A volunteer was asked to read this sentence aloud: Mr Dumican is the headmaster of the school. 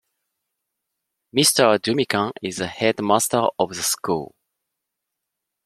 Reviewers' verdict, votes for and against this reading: accepted, 2, 0